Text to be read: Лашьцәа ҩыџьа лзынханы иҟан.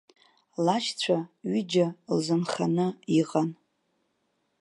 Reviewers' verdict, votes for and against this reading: rejected, 1, 2